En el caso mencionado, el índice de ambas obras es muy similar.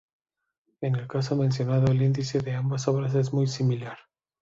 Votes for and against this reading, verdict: 3, 0, accepted